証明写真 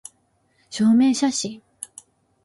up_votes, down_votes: 2, 1